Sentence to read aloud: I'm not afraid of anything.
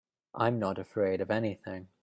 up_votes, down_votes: 3, 0